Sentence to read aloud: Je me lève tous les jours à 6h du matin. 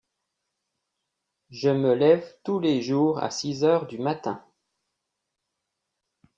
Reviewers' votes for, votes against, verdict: 0, 2, rejected